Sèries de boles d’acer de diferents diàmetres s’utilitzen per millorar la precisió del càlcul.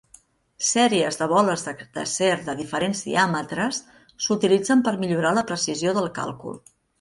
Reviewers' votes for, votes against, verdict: 0, 2, rejected